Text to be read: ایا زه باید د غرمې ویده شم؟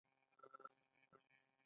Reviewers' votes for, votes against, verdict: 0, 3, rejected